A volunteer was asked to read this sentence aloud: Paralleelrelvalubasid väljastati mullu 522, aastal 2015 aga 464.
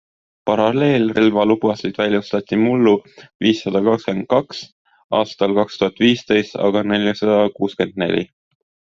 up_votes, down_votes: 0, 2